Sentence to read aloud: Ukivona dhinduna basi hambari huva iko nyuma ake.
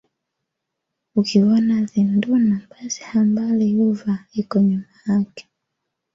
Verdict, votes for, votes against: accepted, 2, 0